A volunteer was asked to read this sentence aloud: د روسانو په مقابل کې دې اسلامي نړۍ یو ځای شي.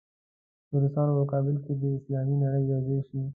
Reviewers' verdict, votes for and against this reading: accepted, 2, 0